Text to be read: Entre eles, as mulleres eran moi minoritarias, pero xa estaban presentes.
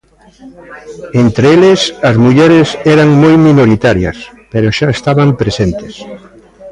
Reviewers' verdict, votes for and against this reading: rejected, 1, 2